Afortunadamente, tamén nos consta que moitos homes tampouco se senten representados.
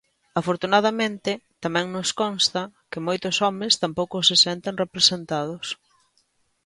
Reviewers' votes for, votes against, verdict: 2, 0, accepted